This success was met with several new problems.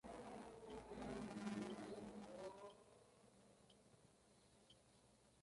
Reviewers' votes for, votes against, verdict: 0, 2, rejected